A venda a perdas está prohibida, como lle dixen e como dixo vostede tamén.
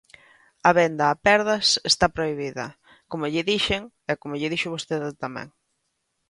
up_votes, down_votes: 1, 2